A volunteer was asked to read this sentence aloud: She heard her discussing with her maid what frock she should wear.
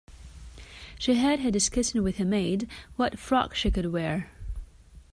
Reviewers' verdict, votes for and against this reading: rejected, 1, 2